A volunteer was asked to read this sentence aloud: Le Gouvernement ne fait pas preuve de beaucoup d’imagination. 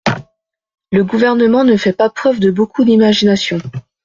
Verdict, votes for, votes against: accepted, 2, 0